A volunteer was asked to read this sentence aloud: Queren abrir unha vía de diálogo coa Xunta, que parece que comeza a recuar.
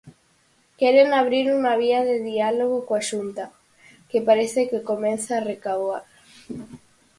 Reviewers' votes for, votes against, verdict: 0, 4, rejected